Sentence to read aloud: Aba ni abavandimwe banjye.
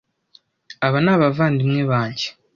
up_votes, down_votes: 2, 0